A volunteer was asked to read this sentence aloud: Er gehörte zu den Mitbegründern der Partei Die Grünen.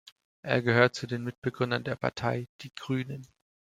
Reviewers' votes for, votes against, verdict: 1, 2, rejected